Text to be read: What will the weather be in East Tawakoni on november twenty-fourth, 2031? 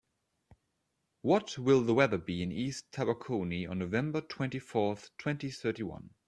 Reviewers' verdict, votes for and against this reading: rejected, 0, 2